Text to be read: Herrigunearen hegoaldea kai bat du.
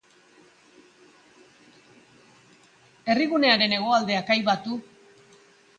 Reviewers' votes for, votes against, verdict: 2, 1, accepted